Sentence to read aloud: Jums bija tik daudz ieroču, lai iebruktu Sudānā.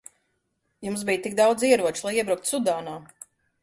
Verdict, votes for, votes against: accepted, 2, 0